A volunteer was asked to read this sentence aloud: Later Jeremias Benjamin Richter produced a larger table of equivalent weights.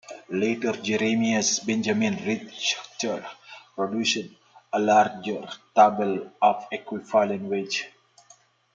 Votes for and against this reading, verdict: 0, 2, rejected